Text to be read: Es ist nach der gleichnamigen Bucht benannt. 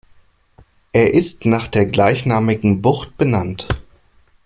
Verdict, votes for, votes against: rejected, 1, 2